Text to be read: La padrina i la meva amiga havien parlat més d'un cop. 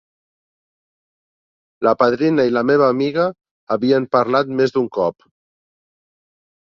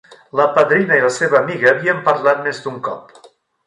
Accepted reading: first